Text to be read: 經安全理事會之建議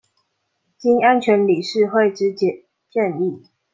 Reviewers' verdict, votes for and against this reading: rejected, 1, 2